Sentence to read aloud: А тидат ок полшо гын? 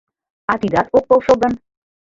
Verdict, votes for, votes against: accepted, 2, 0